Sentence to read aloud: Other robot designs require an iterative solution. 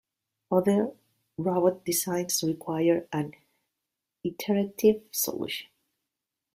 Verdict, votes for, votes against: rejected, 1, 2